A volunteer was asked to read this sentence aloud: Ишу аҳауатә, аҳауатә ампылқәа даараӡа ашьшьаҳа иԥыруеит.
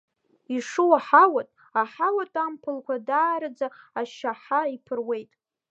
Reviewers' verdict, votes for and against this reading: rejected, 1, 2